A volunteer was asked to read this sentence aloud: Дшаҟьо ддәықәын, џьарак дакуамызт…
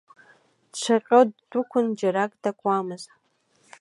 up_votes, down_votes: 2, 1